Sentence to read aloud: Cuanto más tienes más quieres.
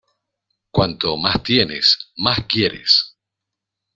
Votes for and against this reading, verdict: 2, 0, accepted